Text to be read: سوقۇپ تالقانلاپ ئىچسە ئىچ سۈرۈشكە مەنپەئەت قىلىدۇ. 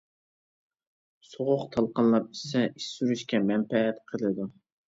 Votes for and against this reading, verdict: 0, 2, rejected